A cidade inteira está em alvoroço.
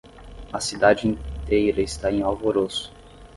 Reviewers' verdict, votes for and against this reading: accepted, 5, 0